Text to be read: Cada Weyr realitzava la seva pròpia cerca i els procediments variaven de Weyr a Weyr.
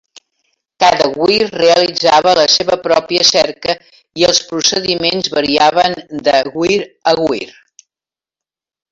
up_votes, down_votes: 2, 0